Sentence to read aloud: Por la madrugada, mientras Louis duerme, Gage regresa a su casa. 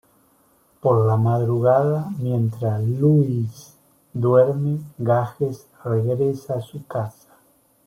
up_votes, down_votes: 0, 2